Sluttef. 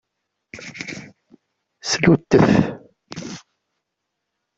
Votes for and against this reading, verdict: 2, 0, accepted